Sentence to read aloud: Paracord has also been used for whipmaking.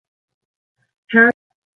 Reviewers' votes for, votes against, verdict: 0, 2, rejected